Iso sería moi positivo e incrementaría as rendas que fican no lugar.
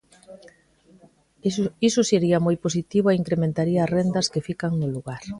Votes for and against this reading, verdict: 1, 2, rejected